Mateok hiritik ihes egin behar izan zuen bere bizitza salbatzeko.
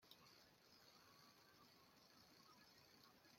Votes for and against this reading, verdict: 0, 2, rejected